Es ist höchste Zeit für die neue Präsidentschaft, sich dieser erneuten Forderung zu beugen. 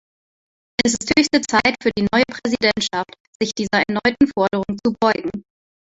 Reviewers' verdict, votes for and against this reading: rejected, 1, 2